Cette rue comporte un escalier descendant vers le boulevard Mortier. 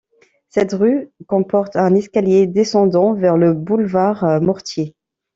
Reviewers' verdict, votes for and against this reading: rejected, 0, 2